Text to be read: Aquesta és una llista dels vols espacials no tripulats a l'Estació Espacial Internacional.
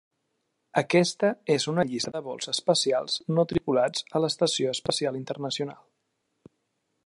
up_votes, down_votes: 2, 0